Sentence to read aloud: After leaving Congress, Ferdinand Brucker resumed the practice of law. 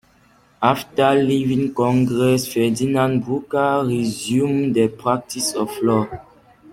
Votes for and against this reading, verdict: 2, 0, accepted